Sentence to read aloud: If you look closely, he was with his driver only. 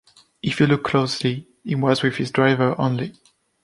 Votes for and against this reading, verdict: 2, 0, accepted